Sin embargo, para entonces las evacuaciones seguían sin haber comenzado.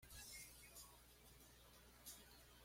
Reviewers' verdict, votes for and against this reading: rejected, 1, 2